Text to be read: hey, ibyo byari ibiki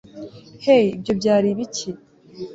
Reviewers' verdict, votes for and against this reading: accepted, 2, 0